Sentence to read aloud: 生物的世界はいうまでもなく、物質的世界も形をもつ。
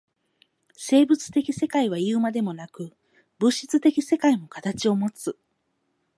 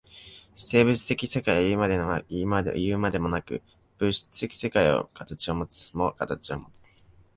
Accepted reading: first